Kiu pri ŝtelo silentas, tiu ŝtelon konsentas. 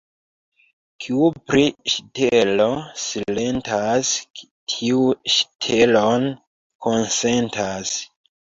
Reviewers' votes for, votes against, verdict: 2, 0, accepted